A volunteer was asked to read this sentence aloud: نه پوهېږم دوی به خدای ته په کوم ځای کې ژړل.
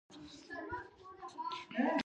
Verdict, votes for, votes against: rejected, 1, 2